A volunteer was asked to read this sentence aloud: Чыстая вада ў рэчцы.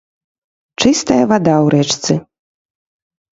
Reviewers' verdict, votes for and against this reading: rejected, 0, 2